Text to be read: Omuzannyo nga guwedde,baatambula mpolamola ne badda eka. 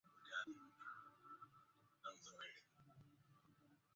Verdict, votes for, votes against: rejected, 0, 2